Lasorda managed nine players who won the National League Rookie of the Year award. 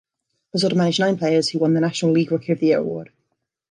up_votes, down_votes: 2, 1